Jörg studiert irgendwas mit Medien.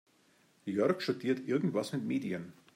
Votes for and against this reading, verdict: 2, 0, accepted